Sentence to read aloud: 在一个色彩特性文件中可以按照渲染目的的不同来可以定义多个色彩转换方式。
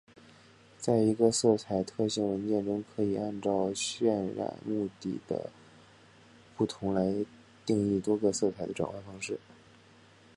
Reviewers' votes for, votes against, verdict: 0, 2, rejected